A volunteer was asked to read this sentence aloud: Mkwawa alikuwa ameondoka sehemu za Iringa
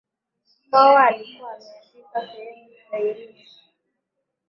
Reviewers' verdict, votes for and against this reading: rejected, 4, 5